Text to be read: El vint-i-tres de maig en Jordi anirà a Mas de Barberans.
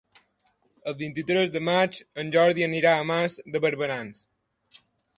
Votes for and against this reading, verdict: 3, 0, accepted